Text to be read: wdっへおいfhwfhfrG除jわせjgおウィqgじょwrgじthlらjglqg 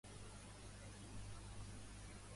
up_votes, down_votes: 0, 2